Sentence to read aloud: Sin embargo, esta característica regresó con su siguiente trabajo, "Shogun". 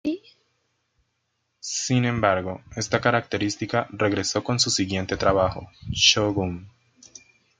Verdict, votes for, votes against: accepted, 2, 0